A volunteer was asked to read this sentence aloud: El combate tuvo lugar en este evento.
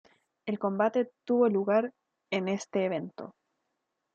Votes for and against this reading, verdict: 2, 0, accepted